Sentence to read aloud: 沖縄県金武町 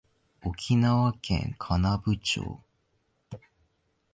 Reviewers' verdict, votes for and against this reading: rejected, 0, 2